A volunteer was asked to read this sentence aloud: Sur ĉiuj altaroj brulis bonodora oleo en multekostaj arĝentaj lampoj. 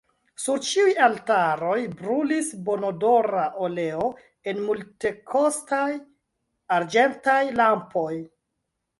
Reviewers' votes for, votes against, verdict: 0, 2, rejected